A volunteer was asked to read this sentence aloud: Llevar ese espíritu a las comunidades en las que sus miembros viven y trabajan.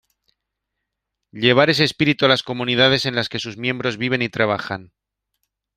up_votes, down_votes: 2, 0